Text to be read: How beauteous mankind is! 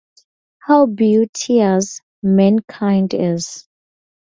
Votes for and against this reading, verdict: 2, 0, accepted